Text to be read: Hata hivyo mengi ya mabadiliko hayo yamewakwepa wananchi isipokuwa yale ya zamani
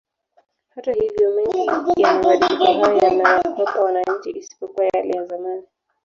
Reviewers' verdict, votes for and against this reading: rejected, 0, 2